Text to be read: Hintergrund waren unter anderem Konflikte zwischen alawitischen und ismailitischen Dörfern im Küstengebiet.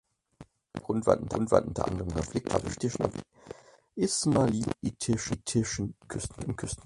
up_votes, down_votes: 0, 4